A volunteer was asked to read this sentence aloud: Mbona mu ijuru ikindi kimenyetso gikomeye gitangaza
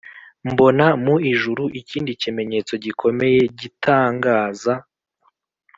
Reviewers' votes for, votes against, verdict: 2, 0, accepted